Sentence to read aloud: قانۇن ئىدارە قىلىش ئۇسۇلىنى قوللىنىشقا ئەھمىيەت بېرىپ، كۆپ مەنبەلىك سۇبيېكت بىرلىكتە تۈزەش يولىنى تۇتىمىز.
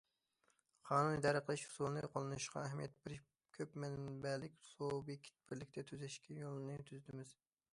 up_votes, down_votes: 0, 2